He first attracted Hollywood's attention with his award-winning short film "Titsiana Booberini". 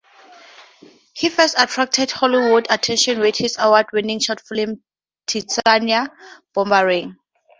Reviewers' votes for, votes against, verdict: 2, 0, accepted